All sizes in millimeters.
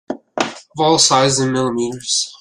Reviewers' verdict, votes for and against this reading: rejected, 0, 2